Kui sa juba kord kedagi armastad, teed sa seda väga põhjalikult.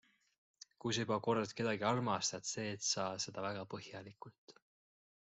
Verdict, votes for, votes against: rejected, 1, 2